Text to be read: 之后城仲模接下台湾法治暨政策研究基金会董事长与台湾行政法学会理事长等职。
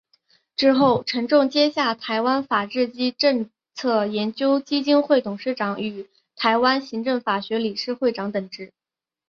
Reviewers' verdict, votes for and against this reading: rejected, 0, 2